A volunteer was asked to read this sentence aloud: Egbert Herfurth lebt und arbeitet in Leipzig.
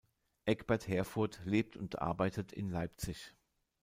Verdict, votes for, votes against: accepted, 2, 0